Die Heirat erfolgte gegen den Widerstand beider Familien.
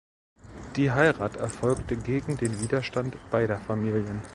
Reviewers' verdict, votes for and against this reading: accepted, 2, 0